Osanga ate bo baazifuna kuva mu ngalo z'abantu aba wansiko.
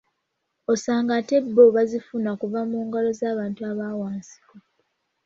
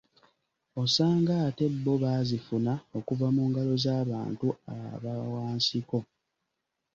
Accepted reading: first